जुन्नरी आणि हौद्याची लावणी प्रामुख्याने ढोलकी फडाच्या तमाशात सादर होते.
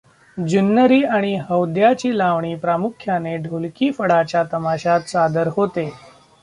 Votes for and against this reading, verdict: 2, 0, accepted